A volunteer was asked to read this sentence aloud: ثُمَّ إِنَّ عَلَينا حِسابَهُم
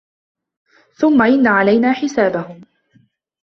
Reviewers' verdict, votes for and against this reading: accepted, 2, 1